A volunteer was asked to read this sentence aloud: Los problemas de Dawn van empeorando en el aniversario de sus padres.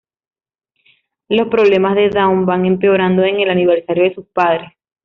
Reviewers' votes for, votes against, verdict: 2, 1, accepted